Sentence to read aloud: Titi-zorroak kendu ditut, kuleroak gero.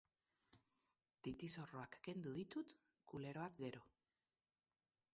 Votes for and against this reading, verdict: 2, 2, rejected